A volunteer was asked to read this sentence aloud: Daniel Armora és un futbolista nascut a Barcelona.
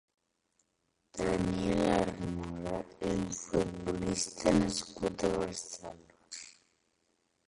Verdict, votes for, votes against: rejected, 0, 2